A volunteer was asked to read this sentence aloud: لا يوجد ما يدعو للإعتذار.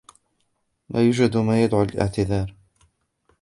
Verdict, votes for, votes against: rejected, 0, 2